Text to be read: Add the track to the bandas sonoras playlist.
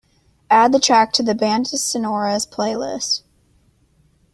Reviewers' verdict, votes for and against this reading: accepted, 2, 0